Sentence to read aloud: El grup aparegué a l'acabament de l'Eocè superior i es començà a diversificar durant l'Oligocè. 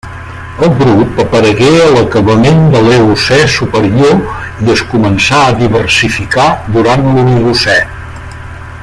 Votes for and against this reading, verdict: 3, 1, accepted